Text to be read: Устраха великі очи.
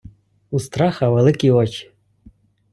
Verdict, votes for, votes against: rejected, 1, 2